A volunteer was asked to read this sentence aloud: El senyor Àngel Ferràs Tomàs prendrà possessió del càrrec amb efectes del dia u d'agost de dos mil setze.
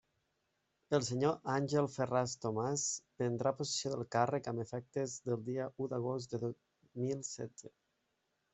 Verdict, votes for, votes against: rejected, 1, 2